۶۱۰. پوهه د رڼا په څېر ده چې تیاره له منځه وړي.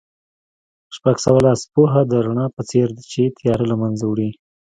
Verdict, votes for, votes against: rejected, 0, 2